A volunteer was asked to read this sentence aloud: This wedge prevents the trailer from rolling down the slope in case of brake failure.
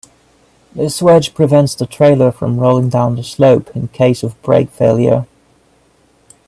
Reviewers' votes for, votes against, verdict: 2, 0, accepted